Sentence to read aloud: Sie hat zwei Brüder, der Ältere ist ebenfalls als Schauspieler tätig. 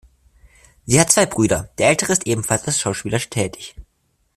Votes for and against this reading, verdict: 0, 2, rejected